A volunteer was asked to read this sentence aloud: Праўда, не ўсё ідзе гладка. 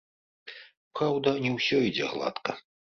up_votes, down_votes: 2, 0